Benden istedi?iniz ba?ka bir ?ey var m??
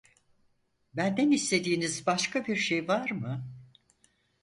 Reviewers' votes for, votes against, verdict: 2, 4, rejected